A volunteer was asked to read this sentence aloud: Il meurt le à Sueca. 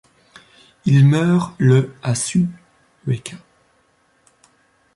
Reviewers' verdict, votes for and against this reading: rejected, 0, 2